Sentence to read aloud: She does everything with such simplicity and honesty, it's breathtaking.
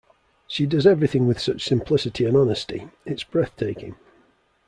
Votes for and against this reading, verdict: 2, 0, accepted